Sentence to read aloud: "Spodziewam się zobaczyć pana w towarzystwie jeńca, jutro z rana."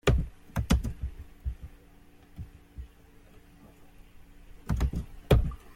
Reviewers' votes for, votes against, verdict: 0, 2, rejected